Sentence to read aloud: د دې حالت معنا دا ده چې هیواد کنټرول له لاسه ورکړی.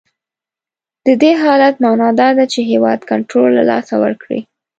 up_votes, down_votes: 2, 0